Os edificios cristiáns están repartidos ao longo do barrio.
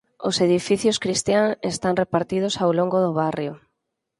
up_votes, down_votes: 2, 4